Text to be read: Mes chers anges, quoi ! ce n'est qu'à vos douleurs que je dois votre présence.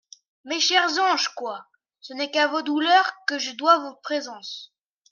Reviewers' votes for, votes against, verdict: 2, 0, accepted